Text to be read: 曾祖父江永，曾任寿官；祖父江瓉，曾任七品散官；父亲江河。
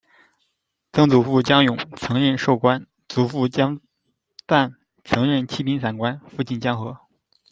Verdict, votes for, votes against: rejected, 1, 2